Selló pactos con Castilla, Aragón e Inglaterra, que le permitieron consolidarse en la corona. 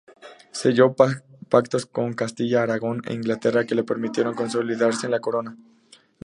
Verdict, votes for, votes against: rejected, 0, 2